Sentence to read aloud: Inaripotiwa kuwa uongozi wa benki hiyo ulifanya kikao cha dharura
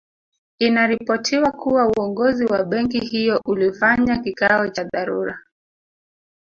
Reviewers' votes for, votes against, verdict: 1, 2, rejected